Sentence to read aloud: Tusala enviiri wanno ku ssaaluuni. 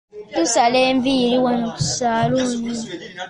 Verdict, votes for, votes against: accepted, 2, 1